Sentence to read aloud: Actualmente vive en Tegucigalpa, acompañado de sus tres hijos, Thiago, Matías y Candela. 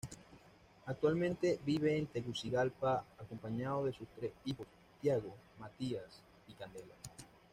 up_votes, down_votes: 2, 1